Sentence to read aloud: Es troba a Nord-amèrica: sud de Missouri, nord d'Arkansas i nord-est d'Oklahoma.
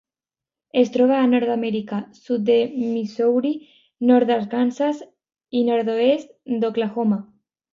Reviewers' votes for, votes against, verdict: 0, 2, rejected